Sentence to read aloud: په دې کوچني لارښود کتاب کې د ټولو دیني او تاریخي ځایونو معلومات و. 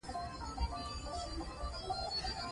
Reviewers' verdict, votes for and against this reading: accepted, 2, 0